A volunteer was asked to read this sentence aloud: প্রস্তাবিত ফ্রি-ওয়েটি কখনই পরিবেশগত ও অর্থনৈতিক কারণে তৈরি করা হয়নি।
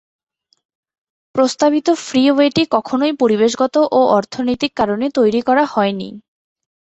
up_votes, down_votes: 13, 0